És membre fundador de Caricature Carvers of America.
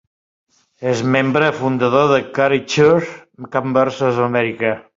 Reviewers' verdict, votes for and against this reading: rejected, 1, 2